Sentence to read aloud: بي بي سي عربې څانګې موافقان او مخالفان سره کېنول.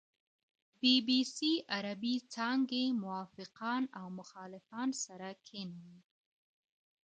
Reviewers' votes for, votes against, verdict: 2, 0, accepted